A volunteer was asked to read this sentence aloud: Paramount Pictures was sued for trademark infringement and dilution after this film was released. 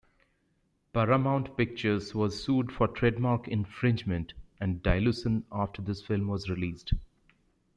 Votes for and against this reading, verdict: 1, 2, rejected